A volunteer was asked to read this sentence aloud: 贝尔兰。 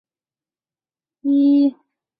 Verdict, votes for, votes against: rejected, 2, 3